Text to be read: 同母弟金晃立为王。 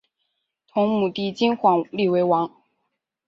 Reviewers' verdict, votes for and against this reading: accepted, 4, 0